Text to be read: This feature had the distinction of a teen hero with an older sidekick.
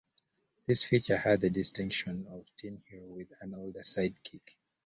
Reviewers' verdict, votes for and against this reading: accepted, 2, 0